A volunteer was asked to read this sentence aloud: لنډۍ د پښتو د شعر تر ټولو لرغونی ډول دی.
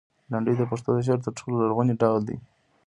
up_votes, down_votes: 0, 2